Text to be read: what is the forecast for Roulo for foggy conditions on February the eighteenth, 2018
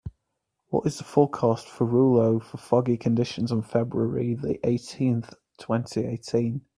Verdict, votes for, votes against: rejected, 0, 2